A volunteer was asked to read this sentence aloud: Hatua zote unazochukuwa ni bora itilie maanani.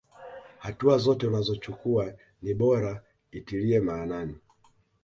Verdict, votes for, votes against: accepted, 2, 0